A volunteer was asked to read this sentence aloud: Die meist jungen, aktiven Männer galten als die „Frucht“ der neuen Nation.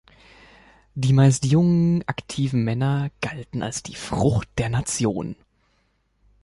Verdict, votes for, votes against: rejected, 0, 2